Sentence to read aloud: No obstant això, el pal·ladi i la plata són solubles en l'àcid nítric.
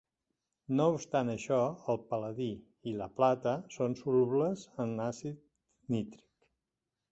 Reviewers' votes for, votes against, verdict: 1, 2, rejected